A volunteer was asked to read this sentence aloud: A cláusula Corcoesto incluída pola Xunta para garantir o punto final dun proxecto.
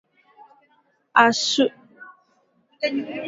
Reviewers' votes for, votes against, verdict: 0, 2, rejected